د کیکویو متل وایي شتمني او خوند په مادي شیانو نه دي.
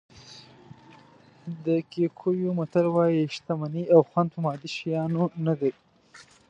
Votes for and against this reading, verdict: 0, 2, rejected